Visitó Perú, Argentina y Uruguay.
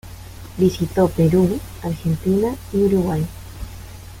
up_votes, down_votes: 2, 0